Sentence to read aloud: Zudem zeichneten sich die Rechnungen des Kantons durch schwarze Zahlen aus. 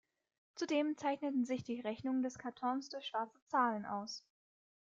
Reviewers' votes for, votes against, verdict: 1, 2, rejected